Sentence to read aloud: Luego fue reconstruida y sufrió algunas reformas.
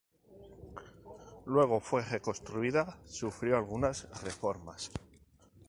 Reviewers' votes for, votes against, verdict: 0, 2, rejected